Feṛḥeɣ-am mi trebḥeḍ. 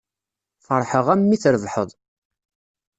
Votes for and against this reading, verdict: 2, 0, accepted